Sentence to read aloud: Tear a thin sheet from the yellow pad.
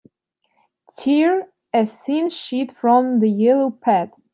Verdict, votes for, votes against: rejected, 2, 3